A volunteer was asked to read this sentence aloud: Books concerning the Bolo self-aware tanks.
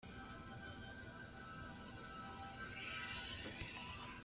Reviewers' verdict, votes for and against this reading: rejected, 0, 2